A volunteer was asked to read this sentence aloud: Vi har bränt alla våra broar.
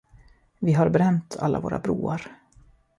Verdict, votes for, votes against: accepted, 2, 0